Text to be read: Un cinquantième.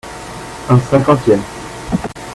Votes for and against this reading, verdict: 2, 0, accepted